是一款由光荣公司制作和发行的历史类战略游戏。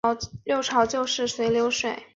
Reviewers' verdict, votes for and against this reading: rejected, 0, 4